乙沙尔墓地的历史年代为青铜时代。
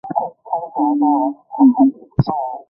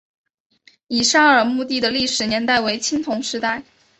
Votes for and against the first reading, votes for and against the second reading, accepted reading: 0, 2, 2, 0, second